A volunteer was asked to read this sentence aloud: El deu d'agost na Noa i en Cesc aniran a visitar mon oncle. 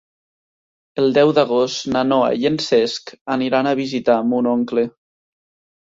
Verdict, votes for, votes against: accepted, 3, 0